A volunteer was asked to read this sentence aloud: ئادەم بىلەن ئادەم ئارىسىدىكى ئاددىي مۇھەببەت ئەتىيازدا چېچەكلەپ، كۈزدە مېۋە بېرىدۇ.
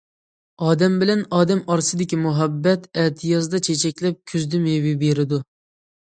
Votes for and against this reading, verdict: 0, 2, rejected